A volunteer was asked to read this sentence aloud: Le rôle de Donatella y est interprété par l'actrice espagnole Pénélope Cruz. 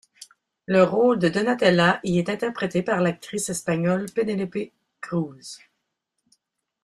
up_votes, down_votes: 0, 2